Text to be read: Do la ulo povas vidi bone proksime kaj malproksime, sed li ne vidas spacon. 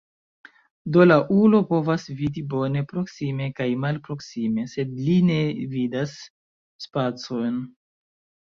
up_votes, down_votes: 2, 0